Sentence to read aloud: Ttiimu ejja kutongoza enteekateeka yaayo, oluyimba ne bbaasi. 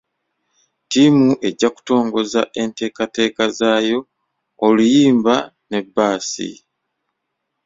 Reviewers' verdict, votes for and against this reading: rejected, 1, 2